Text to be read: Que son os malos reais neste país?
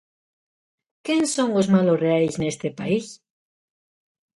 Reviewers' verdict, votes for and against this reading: rejected, 1, 2